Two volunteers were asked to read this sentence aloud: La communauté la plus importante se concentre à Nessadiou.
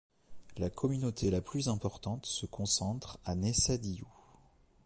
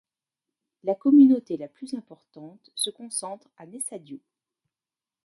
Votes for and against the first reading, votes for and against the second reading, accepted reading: 2, 0, 1, 2, first